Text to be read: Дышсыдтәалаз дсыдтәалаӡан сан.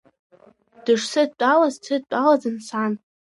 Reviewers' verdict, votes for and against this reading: accepted, 2, 0